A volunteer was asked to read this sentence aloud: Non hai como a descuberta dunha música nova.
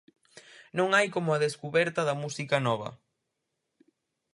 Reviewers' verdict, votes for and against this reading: rejected, 0, 4